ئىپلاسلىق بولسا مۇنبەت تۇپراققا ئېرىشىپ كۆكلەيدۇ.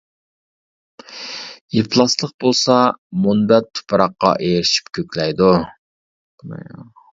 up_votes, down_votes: 2, 1